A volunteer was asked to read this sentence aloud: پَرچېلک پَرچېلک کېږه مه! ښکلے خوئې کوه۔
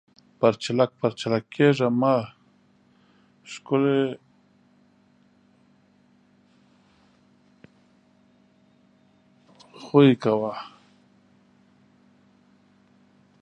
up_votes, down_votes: 0, 2